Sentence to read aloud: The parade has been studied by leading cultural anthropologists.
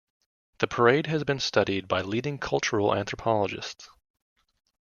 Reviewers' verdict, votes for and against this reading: accepted, 2, 0